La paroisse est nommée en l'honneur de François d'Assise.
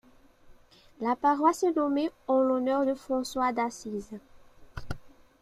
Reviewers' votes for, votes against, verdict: 0, 2, rejected